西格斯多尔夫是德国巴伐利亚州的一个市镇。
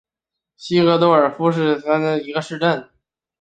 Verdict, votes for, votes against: rejected, 0, 3